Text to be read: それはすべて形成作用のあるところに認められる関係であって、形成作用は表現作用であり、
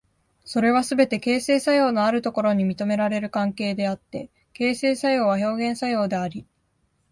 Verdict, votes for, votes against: accepted, 2, 0